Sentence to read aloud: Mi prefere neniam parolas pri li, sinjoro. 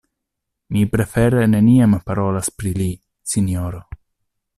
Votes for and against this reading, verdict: 2, 0, accepted